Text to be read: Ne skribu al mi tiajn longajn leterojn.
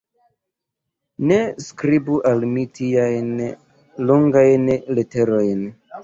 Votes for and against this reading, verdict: 1, 2, rejected